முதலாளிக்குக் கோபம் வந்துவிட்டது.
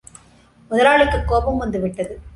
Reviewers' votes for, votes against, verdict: 2, 0, accepted